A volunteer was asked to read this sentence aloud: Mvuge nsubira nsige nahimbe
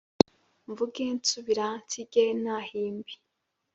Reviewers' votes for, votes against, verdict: 3, 1, accepted